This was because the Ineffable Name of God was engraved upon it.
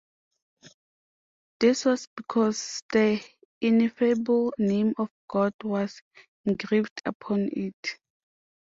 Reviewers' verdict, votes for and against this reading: accepted, 2, 0